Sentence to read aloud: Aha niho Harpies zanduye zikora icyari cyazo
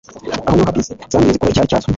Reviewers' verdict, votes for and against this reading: rejected, 1, 2